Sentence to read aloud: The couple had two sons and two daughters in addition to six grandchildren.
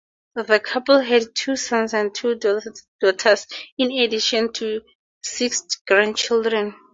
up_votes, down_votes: 4, 2